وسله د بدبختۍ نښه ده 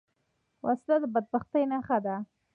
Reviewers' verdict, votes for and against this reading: accepted, 2, 1